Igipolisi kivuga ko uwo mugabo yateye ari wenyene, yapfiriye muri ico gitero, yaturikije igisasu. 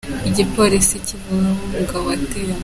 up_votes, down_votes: 0, 3